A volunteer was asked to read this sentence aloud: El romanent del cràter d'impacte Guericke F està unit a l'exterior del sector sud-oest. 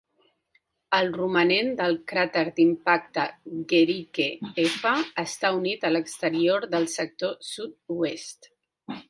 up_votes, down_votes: 2, 1